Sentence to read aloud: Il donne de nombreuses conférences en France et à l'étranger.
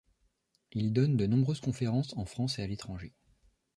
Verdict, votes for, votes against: accepted, 2, 0